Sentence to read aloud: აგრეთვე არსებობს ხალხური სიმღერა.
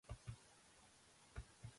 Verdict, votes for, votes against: rejected, 0, 2